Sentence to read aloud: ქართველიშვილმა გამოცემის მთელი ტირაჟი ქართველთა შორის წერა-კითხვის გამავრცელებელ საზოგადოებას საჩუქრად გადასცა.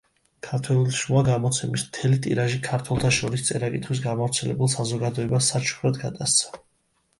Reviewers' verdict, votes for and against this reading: accepted, 2, 0